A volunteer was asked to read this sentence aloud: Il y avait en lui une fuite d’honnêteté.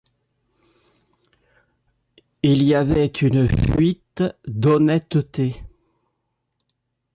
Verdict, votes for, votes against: rejected, 0, 2